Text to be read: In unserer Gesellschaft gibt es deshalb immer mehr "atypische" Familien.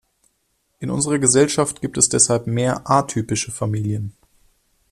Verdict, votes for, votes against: rejected, 1, 2